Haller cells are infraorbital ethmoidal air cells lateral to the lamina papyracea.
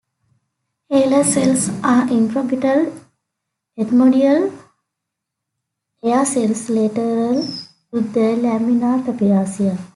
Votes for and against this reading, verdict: 2, 1, accepted